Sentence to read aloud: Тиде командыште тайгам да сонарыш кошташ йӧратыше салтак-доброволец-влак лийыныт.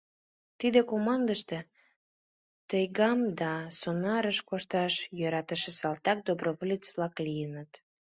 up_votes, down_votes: 2, 0